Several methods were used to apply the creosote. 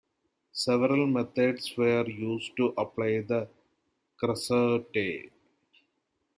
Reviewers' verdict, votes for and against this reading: rejected, 0, 2